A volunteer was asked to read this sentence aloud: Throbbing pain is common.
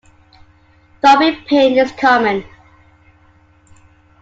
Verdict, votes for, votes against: accepted, 2, 0